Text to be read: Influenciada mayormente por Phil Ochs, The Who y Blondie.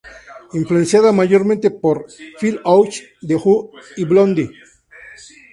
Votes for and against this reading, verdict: 2, 2, rejected